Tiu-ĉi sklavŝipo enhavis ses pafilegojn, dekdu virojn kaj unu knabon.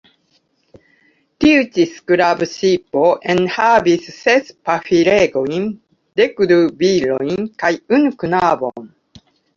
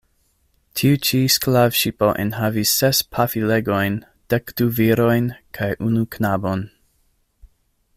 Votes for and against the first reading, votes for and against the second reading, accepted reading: 0, 2, 2, 0, second